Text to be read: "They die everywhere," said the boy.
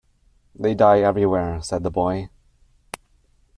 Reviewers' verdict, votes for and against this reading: accepted, 2, 0